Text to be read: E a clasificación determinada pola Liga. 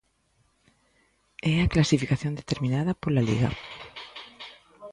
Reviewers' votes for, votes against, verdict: 1, 2, rejected